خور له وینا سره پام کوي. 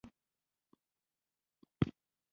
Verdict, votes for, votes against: rejected, 0, 2